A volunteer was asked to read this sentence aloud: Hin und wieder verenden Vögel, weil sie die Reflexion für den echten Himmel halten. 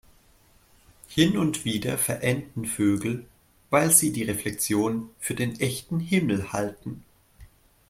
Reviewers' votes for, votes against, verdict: 2, 0, accepted